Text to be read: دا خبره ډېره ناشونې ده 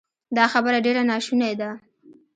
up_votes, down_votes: 2, 0